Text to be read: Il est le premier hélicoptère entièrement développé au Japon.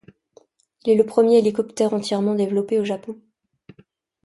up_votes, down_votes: 2, 1